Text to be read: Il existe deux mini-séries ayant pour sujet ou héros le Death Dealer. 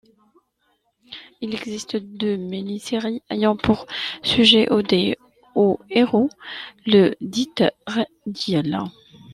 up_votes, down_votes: 0, 2